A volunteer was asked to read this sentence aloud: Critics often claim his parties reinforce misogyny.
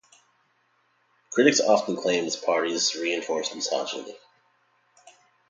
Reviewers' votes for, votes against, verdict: 2, 2, rejected